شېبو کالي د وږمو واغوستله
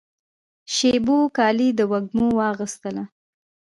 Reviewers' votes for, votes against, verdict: 1, 2, rejected